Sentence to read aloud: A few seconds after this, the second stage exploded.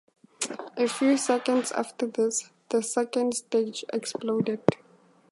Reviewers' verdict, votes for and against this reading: accepted, 2, 0